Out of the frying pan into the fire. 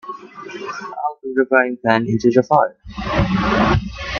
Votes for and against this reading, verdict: 1, 2, rejected